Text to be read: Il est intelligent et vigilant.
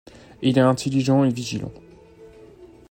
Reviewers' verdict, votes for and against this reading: rejected, 1, 2